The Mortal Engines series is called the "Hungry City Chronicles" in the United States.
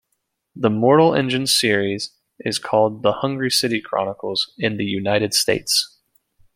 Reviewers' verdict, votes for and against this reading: accepted, 2, 0